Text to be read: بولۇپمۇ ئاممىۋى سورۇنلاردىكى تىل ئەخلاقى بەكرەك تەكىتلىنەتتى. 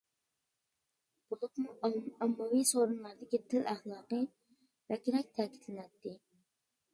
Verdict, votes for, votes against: rejected, 0, 2